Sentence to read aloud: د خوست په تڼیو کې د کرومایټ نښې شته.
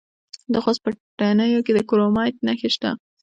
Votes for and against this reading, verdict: 0, 2, rejected